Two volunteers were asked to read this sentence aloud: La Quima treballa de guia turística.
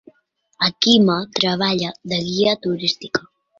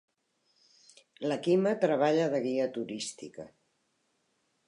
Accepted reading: second